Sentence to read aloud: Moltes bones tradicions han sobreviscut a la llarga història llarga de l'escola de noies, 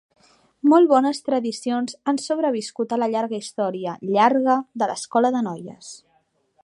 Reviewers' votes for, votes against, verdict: 1, 2, rejected